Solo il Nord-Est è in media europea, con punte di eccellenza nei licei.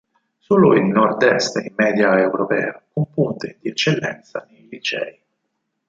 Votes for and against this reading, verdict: 4, 0, accepted